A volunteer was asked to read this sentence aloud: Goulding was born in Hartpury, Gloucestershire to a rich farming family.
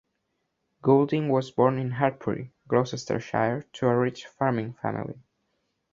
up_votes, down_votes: 1, 2